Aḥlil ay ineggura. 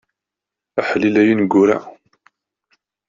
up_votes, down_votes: 2, 0